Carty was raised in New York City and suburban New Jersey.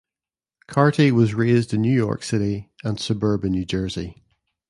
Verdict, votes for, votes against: accepted, 2, 0